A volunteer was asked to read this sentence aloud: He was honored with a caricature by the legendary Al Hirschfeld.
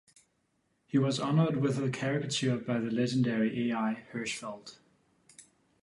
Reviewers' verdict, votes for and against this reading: rejected, 0, 3